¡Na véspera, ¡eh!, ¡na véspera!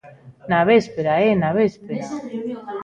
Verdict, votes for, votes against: rejected, 1, 2